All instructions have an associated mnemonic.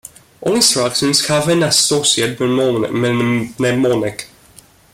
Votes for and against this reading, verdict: 1, 2, rejected